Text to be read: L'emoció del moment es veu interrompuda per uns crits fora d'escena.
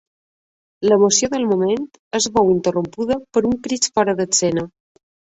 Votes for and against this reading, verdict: 3, 2, accepted